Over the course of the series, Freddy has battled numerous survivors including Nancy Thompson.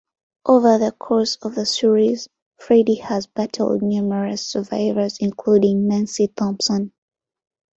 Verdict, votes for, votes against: accepted, 2, 0